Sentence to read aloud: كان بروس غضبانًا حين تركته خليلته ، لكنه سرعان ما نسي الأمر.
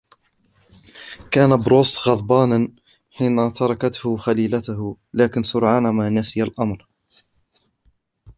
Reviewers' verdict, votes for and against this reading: accepted, 2, 0